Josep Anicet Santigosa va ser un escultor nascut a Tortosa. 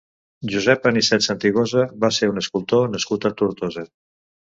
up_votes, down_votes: 2, 0